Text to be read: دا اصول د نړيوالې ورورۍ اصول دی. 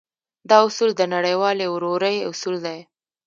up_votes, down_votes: 1, 2